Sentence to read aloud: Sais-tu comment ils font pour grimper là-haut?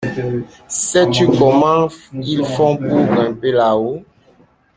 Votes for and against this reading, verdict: 2, 0, accepted